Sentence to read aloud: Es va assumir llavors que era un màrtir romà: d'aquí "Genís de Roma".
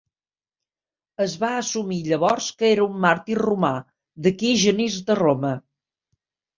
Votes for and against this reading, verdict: 2, 0, accepted